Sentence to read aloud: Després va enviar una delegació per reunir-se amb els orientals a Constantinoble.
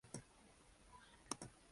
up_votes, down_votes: 0, 2